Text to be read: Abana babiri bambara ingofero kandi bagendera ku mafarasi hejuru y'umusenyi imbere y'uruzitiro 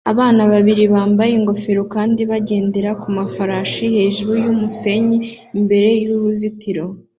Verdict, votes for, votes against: accepted, 2, 1